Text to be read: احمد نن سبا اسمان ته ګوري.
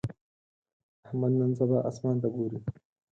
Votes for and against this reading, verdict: 0, 4, rejected